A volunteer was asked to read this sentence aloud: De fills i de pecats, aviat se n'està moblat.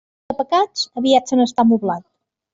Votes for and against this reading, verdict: 0, 2, rejected